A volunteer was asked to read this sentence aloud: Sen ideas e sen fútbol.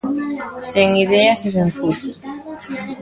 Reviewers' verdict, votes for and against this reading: rejected, 0, 2